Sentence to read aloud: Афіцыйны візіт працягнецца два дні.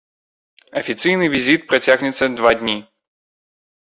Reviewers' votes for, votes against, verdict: 4, 0, accepted